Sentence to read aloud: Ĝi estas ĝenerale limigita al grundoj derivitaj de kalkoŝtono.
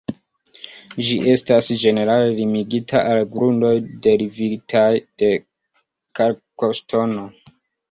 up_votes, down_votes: 2, 0